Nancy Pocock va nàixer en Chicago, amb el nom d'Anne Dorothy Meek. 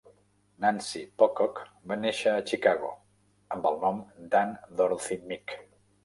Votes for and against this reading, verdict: 1, 2, rejected